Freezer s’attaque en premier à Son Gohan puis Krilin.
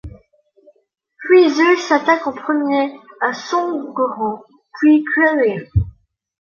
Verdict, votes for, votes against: accepted, 2, 1